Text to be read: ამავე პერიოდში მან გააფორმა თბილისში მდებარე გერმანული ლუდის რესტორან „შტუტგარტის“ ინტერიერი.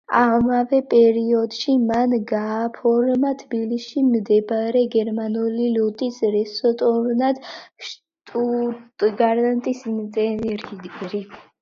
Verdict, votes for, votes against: rejected, 0, 2